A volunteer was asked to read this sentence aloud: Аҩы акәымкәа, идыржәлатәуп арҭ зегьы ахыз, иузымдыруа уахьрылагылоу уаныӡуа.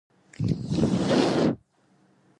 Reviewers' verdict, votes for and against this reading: rejected, 0, 2